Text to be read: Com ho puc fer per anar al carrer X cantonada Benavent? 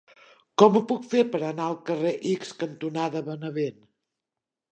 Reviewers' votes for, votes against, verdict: 2, 0, accepted